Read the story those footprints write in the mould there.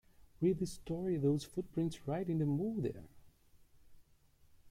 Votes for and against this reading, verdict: 1, 2, rejected